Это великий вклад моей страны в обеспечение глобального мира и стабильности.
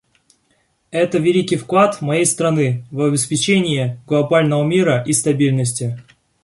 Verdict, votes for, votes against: accepted, 2, 0